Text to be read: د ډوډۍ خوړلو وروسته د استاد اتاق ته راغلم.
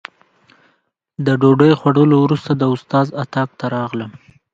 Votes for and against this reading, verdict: 1, 2, rejected